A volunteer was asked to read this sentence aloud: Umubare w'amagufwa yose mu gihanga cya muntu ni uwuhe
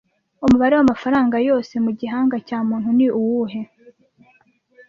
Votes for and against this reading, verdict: 1, 2, rejected